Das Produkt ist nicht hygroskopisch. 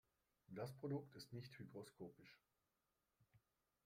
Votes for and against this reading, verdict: 1, 2, rejected